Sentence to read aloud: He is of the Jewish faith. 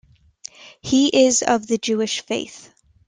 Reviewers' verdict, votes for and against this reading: accepted, 2, 0